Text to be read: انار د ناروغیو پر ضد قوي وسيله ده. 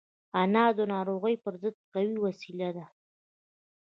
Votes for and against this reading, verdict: 2, 1, accepted